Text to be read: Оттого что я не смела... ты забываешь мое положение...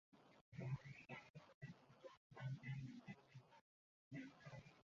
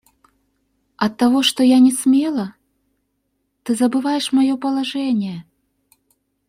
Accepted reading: second